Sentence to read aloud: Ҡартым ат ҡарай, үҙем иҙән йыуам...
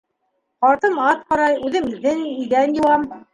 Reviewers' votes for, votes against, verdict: 0, 2, rejected